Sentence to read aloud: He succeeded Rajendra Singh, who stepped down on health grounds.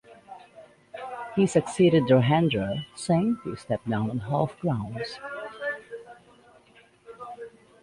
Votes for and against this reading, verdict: 1, 2, rejected